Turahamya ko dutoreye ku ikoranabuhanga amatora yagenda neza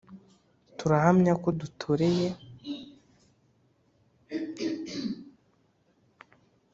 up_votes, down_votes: 1, 3